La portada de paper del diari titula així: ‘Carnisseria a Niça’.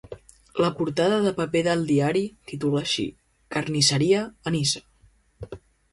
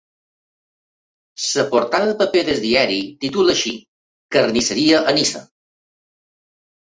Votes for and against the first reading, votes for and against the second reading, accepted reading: 2, 0, 0, 2, first